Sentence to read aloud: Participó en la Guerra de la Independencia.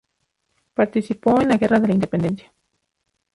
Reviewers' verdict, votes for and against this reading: rejected, 2, 2